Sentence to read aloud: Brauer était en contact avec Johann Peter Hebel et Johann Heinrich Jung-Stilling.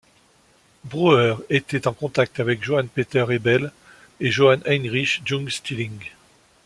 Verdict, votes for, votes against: accepted, 2, 0